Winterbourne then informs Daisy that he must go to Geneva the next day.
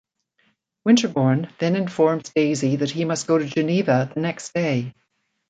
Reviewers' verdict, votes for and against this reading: accepted, 2, 0